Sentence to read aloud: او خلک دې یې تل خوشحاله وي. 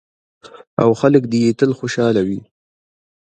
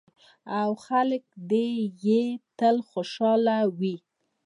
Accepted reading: first